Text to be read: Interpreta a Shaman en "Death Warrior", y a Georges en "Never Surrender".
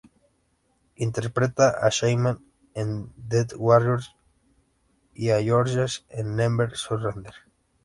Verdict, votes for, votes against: accepted, 2, 0